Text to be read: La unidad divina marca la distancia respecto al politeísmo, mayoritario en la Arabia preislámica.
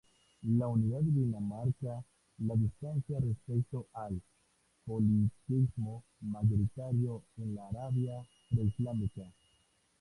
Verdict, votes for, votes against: accepted, 2, 0